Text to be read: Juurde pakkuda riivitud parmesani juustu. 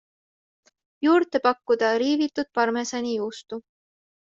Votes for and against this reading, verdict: 2, 0, accepted